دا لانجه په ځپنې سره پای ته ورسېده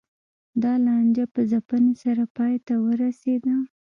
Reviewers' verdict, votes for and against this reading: rejected, 1, 2